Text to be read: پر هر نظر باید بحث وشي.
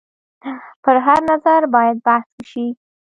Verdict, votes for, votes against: accepted, 2, 0